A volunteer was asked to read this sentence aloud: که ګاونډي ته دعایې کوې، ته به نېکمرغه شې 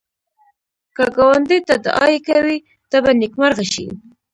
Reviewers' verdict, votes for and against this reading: rejected, 1, 2